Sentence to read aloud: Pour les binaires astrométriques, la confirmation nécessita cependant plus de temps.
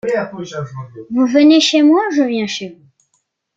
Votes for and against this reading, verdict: 0, 2, rejected